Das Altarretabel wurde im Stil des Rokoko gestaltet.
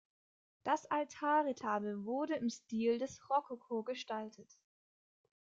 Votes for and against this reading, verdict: 2, 0, accepted